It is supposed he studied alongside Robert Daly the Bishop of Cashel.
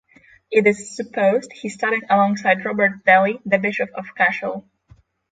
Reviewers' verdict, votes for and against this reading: accepted, 6, 0